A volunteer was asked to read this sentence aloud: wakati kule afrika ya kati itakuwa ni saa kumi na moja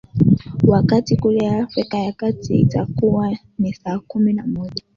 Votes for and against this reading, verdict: 2, 0, accepted